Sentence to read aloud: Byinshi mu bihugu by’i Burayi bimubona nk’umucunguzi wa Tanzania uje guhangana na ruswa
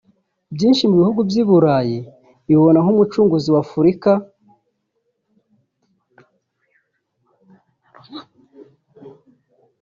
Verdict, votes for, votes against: rejected, 1, 2